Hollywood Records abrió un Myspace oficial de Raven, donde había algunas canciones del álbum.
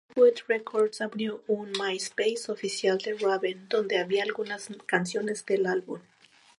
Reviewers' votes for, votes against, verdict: 2, 0, accepted